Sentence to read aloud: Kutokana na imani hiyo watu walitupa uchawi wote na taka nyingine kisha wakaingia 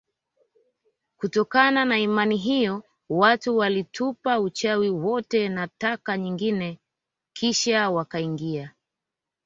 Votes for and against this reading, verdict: 2, 1, accepted